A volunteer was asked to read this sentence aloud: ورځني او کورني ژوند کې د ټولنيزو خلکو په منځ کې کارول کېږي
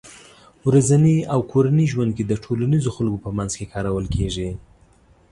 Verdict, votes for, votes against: accepted, 3, 0